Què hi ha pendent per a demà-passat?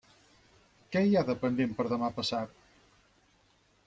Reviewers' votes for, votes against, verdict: 2, 4, rejected